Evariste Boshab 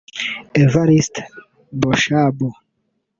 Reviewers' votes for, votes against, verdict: 0, 2, rejected